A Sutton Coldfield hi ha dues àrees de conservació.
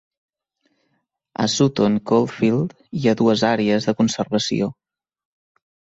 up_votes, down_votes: 2, 0